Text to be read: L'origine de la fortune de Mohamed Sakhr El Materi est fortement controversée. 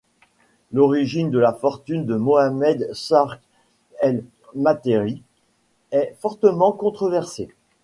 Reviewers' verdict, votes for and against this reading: accepted, 2, 1